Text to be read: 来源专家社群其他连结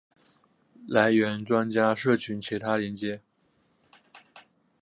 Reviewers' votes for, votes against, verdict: 5, 0, accepted